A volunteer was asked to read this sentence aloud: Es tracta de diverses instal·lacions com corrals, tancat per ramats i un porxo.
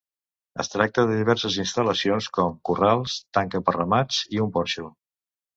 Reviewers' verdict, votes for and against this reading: rejected, 1, 2